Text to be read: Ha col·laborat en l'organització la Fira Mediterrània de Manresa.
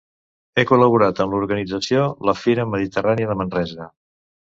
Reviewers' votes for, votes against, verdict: 2, 3, rejected